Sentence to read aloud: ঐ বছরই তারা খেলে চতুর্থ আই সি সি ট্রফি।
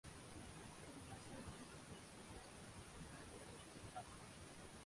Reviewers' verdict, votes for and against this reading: rejected, 0, 12